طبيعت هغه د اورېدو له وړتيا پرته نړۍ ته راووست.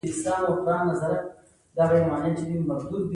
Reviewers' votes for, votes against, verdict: 2, 0, accepted